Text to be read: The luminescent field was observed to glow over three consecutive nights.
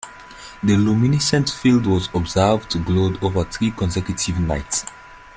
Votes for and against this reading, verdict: 0, 2, rejected